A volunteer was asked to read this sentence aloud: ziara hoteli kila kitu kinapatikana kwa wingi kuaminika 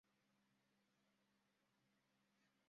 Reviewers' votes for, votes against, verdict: 0, 2, rejected